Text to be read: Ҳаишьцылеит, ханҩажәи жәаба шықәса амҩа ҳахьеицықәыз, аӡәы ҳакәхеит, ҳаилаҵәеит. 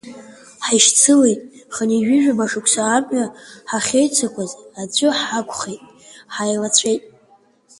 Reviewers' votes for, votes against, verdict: 2, 1, accepted